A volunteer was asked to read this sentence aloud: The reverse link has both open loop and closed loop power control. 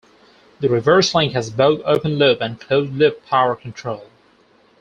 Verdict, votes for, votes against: accepted, 4, 0